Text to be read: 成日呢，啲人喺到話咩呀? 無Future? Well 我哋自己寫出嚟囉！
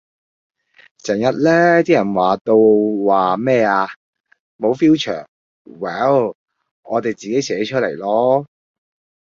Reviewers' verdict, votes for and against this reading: rejected, 0, 2